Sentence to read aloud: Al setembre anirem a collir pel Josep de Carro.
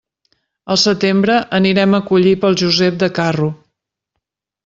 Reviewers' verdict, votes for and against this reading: accepted, 2, 0